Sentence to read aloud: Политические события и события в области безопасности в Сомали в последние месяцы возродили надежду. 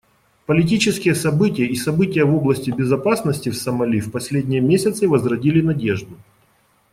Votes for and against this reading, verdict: 2, 0, accepted